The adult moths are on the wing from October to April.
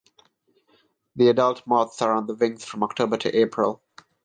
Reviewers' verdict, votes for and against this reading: rejected, 3, 3